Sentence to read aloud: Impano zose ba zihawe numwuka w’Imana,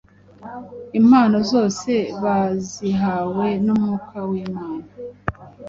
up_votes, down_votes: 2, 0